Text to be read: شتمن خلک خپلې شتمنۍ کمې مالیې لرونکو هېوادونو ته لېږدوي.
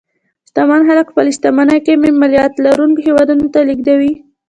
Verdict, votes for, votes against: accepted, 2, 1